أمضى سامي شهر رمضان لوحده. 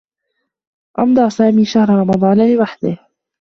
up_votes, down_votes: 2, 1